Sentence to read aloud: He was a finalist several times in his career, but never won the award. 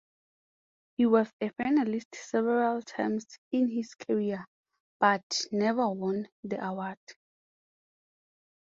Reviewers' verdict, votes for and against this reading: accepted, 4, 0